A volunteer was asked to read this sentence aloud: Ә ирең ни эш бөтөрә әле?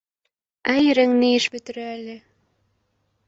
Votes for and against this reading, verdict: 1, 2, rejected